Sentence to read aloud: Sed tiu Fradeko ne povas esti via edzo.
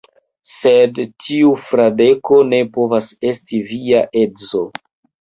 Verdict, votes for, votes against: rejected, 1, 3